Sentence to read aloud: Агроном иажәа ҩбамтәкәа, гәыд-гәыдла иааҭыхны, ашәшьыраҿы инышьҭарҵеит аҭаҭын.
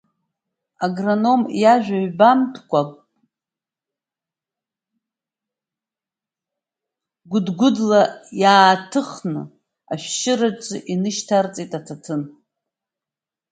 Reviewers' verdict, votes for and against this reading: rejected, 1, 2